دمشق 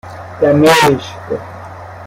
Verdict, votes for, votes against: rejected, 1, 2